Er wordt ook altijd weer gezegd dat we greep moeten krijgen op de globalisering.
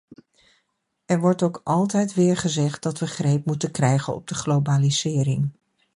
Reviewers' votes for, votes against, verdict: 2, 0, accepted